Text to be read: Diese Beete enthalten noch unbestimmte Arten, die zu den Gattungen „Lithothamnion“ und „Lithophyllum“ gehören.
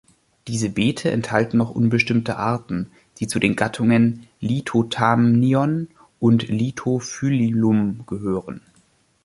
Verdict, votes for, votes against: accepted, 2, 0